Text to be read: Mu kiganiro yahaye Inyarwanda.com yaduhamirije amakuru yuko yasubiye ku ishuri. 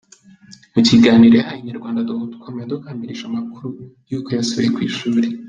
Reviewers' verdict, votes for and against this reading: rejected, 0, 2